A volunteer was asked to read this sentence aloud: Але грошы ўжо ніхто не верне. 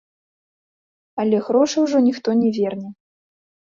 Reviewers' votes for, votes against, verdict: 2, 0, accepted